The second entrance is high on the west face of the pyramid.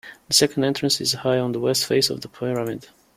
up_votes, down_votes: 1, 2